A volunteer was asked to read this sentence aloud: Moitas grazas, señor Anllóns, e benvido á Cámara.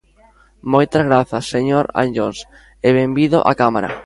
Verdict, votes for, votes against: accepted, 2, 0